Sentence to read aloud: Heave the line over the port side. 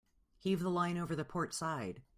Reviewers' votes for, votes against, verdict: 2, 0, accepted